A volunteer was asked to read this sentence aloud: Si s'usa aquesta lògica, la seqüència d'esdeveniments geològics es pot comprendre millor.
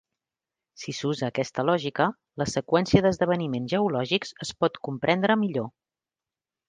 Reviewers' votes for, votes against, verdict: 6, 0, accepted